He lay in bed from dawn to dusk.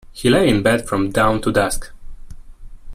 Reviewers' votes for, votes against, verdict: 2, 0, accepted